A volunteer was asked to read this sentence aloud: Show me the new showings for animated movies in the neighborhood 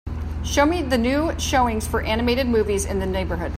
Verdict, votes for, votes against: accepted, 2, 0